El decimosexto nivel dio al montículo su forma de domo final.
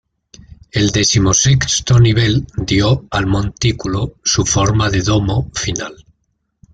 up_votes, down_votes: 2, 1